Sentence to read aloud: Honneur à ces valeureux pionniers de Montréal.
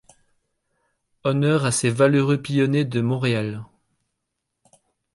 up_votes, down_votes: 0, 2